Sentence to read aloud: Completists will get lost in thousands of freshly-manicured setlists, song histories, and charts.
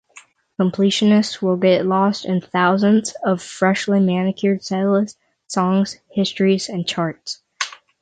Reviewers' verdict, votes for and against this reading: rejected, 3, 3